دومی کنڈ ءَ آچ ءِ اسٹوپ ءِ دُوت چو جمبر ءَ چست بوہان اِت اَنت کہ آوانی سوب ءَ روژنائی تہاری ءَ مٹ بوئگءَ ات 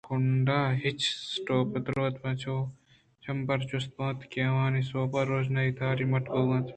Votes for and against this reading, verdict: 2, 0, accepted